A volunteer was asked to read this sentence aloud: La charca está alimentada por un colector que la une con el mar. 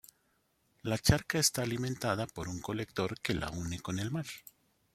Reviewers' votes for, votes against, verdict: 1, 2, rejected